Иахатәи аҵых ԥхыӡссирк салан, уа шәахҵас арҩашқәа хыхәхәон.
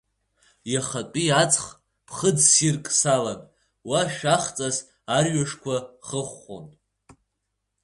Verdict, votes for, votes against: accepted, 4, 0